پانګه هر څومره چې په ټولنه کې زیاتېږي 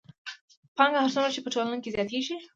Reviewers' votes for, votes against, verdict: 2, 0, accepted